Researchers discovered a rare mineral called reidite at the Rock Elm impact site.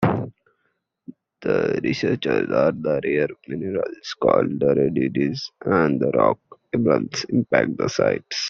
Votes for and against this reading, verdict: 0, 2, rejected